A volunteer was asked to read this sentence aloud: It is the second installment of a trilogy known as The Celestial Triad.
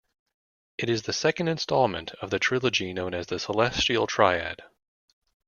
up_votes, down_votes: 1, 2